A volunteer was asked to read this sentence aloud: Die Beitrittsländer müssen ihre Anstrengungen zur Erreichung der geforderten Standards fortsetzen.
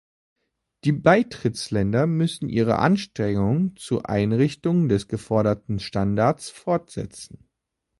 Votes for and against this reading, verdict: 0, 2, rejected